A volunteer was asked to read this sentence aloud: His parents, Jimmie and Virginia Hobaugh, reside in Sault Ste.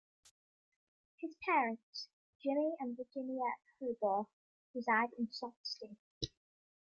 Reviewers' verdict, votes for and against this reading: accepted, 2, 1